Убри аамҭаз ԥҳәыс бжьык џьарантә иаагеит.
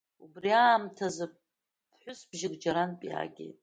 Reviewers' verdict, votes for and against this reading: accepted, 2, 1